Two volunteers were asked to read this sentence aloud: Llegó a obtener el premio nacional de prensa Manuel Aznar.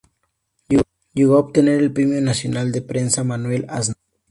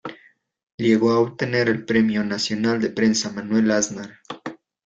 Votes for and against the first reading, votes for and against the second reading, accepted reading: 2, 0, 0, 2, first